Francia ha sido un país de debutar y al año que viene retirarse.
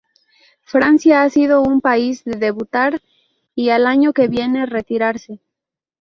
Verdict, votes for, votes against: rejected, 0, 2